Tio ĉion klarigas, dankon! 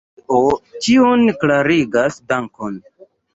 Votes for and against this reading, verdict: 2, 0, accepted